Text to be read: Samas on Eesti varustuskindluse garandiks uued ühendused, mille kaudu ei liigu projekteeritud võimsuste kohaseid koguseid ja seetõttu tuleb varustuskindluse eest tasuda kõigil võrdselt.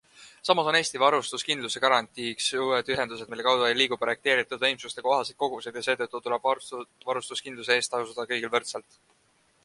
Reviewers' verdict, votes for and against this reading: rejected, 1, 2